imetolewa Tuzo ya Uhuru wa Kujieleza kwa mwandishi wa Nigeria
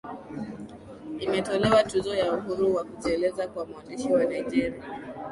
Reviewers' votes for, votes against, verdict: 2, 0, accepted